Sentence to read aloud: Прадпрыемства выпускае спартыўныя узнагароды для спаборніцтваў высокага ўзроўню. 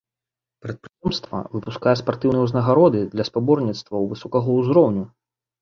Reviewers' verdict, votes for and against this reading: rejected, 1, 2